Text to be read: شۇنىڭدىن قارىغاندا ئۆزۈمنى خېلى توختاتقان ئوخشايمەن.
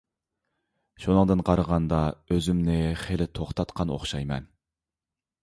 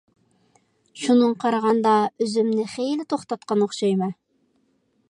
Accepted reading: first